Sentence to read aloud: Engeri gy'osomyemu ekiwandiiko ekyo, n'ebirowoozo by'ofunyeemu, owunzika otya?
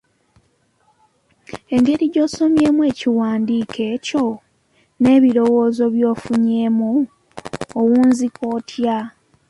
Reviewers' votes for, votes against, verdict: 2, 0, accepted